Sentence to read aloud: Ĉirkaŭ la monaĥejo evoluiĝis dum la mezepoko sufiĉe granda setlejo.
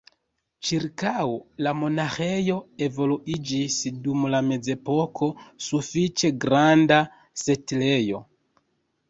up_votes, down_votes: 2, 0